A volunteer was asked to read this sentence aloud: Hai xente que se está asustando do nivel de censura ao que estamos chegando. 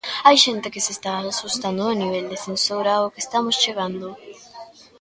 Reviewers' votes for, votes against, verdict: 0, 2, rejected